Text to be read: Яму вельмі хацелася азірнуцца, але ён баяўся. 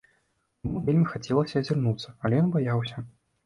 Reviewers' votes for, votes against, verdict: 1, 2, rejected